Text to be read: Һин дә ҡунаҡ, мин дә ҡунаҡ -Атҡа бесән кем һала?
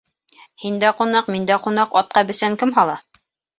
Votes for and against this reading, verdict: 2, 0, accepted